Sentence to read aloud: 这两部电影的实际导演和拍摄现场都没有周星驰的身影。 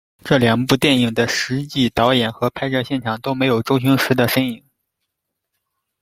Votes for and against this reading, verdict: 2, 0, accepted